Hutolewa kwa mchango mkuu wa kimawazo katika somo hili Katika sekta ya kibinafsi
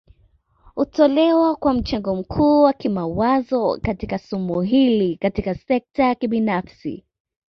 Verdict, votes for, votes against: accepted, 2, 0